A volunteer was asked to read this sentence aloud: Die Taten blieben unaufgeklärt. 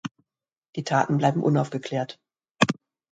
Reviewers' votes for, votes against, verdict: 1, 2, rejected